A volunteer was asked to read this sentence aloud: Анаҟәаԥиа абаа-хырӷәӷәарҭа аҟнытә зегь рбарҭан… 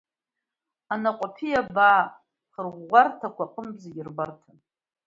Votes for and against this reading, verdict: 0, 2, rejected